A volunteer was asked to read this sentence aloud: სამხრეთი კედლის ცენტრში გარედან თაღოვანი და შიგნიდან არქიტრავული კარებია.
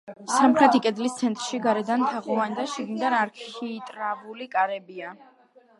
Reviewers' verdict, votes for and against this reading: accepted, 2, 0